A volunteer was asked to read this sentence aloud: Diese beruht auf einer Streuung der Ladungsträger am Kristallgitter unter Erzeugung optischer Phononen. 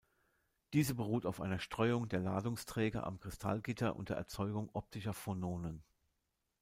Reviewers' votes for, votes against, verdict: 2, 0, accepted